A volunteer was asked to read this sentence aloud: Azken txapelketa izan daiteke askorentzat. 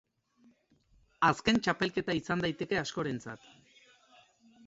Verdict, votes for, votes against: accepted, 2, 0